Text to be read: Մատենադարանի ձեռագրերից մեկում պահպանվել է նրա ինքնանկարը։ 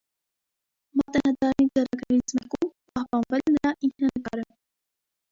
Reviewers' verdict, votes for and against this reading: rejected, 0, 2